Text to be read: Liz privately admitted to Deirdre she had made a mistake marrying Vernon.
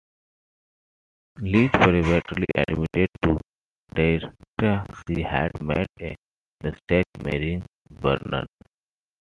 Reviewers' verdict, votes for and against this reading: rejected, 1, 2